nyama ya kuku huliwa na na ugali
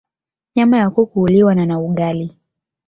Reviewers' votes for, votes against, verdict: 1, 2, rejected